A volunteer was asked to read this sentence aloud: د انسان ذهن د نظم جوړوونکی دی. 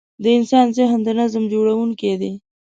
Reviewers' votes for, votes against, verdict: 2, 0, accepted